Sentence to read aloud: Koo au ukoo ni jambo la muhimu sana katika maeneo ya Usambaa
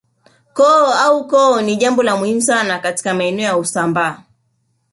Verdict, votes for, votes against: rejected, 1, 2